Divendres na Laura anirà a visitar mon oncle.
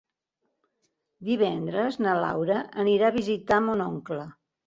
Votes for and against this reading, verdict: 4, 0, accepted